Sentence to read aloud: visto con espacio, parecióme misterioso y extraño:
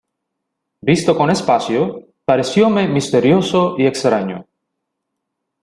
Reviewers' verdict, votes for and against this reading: accepted, 2, 0